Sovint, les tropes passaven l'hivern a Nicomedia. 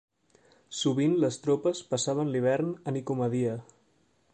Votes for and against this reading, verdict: 1, 2, rejected